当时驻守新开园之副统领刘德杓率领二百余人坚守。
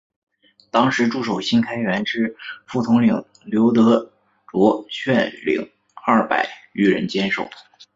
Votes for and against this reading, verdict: 4, 3, accepted